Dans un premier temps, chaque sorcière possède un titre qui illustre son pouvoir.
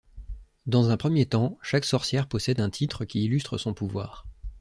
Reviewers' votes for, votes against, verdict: 2, 0, accepted